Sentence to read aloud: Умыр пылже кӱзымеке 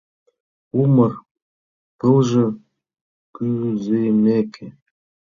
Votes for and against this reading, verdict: 0, 2, rejected